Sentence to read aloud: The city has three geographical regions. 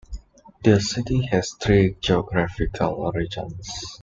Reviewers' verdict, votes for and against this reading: accepted, 2, 0